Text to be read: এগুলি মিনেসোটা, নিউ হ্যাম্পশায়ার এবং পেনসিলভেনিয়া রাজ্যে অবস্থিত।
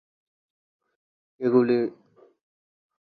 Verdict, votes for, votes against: rejected, 0, 11